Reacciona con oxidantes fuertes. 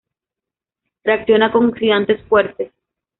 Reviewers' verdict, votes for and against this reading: rejected, 1, 2